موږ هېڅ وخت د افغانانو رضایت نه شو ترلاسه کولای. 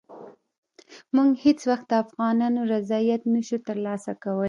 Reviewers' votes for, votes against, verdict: 2, 0, accepted